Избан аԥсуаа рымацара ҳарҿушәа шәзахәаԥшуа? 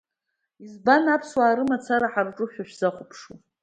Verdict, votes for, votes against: accepted, 2, 0